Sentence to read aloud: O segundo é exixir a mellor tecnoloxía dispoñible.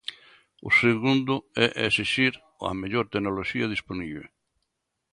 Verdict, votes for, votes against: rejected, 0, 2